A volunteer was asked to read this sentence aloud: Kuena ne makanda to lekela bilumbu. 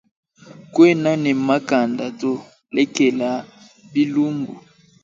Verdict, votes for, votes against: accepted, 2, 0